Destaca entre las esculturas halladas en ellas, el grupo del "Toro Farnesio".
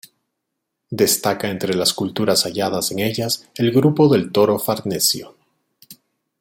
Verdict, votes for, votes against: rejected, 1, 2